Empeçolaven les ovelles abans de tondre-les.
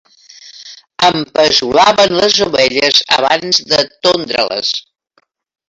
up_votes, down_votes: 3, 0